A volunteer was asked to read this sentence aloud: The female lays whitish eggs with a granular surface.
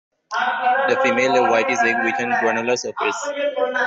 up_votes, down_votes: 0, 2